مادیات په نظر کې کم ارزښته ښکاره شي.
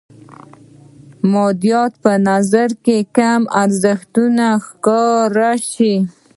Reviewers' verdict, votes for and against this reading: rejected, 1, 2